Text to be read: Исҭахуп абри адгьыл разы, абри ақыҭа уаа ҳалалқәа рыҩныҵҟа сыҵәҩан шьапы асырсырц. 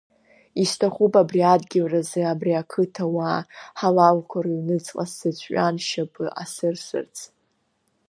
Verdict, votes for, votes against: accepted, 3, 1